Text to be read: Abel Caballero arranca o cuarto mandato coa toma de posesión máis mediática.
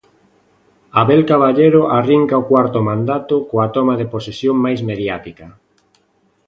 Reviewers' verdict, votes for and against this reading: rejected, 0, 2